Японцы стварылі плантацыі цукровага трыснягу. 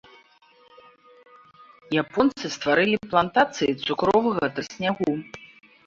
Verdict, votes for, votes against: rejected, 0, 2